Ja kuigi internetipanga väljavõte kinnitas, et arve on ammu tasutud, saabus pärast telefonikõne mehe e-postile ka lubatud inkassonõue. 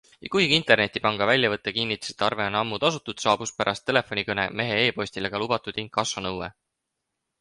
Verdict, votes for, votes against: accepted, 6, 0